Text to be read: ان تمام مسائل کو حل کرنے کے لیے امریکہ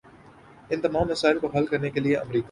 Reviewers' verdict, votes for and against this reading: accepted, 4, 1